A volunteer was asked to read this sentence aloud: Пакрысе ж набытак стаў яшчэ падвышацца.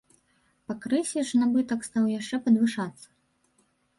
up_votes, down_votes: 1, 2